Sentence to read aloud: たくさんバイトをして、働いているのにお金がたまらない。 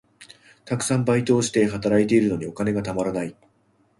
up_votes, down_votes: 2, 0